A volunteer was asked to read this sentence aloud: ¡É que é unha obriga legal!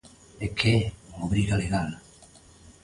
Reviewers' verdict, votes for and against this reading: rejected, 1, 2